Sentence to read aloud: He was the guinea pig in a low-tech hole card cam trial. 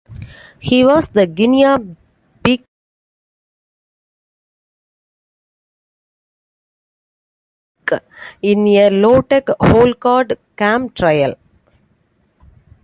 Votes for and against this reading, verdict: 0, 2, rejected